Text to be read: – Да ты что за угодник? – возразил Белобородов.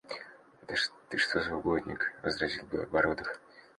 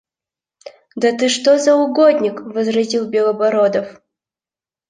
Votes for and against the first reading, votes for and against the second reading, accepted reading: 0, 2, 2, 0, second